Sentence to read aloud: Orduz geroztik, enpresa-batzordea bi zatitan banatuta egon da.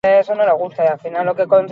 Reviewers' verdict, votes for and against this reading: rejected, 0, 16